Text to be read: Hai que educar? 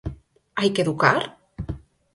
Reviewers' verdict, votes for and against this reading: accepted, 4, 0